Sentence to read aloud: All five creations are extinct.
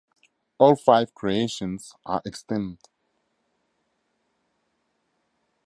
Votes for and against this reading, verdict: 4, 0, accepted